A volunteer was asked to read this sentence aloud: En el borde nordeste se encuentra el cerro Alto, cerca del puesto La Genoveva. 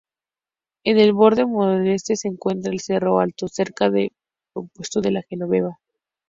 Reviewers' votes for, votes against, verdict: 2, 0, accepted